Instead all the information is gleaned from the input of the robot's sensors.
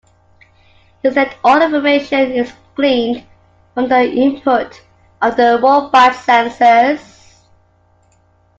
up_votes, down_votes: 3, 1